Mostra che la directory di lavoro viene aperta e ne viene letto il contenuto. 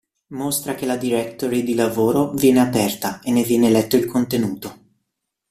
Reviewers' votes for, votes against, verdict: 2, 0, accepted